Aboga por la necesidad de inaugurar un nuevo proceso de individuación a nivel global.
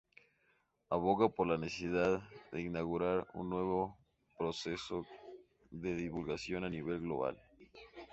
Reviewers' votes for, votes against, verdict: 2, 2, rejected